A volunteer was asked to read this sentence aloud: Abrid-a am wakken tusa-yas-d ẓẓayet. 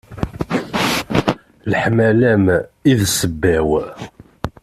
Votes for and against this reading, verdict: 0, 2, rejected